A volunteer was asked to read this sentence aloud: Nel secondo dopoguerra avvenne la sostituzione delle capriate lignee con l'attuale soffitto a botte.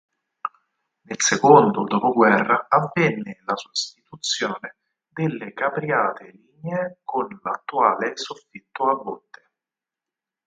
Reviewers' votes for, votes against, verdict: 2, 4, rejected